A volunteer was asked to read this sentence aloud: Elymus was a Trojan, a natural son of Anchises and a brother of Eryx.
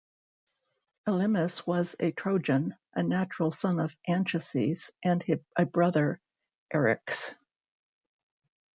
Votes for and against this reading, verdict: 1, 2, rejected